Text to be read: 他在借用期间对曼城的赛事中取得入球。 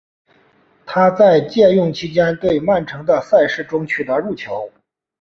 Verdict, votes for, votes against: accepted, 3, 0